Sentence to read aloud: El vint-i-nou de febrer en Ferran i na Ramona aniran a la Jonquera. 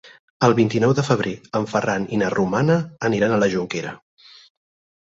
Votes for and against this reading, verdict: 2, 4, rejected